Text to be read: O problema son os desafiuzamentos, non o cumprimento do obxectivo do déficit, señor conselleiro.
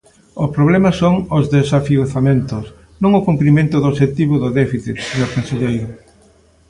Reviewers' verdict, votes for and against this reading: accepted, 2, 0